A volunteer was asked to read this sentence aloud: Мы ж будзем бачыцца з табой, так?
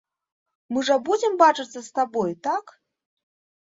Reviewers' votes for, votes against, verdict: 1, 3, rejected